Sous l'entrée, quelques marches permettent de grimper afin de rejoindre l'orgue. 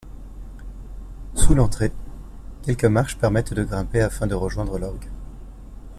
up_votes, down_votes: 2, 0